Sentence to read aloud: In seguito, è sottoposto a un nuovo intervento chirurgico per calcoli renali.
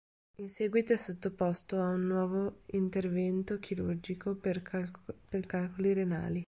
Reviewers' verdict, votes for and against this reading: rejected, 1, 2